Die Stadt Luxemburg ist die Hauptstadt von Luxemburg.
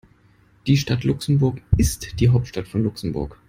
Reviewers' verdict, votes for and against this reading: accepted, 2, 0